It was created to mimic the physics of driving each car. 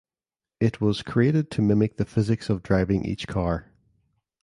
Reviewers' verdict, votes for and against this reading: accepted, 2, 0